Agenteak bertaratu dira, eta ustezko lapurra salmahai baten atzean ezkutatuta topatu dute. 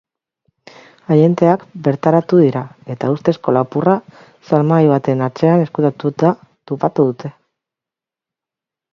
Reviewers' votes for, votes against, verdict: 2, 0, accepted